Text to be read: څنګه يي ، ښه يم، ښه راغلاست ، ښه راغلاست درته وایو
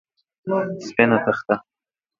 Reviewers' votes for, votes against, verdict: 0, 2, rejected